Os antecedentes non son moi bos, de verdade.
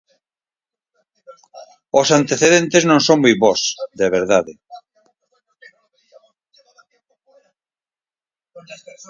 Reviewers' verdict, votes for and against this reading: rejected, 0, 4